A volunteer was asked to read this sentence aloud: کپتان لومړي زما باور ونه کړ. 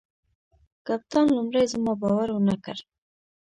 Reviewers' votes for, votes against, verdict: 1, 2, rejected